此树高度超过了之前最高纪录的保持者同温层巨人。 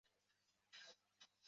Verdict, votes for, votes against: rejected, 1, 4